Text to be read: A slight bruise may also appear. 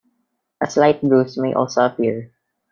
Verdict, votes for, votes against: rejected, 1, 2